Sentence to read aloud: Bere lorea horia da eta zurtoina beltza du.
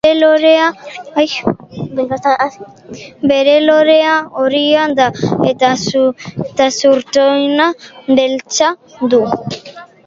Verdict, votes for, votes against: rejected, 0, 2